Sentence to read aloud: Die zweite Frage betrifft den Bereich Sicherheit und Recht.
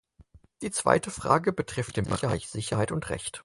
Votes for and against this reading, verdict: 0, 4, rejected